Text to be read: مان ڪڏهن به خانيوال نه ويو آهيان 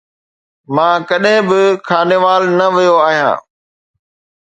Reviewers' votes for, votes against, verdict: 2, 0, accepted